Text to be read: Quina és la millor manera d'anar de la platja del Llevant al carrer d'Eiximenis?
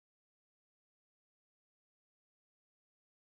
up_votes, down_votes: 0, 3